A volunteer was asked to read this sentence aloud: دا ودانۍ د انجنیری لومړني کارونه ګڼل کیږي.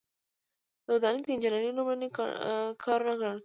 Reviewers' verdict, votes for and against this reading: rejected, 1, 2